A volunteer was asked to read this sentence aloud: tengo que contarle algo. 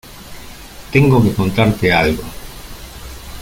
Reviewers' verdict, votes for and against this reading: rejected, 0, 2